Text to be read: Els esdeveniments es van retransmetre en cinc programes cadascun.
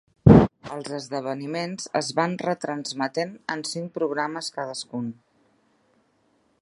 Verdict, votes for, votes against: rejected, 0, 3